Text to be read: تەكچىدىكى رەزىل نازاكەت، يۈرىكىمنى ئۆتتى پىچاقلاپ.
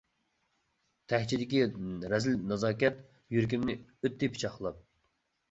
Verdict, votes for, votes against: accepted, 2, 0